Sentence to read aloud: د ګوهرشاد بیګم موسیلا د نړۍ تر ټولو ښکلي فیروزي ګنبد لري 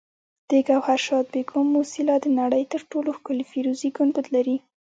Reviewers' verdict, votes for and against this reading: rejected, 1, 2